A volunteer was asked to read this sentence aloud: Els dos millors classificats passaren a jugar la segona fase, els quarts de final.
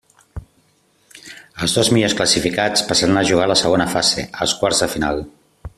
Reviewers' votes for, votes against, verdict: 1, 2, rejected